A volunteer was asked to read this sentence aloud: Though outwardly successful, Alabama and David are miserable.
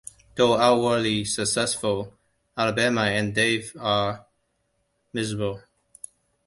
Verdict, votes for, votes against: rejected, 1, 2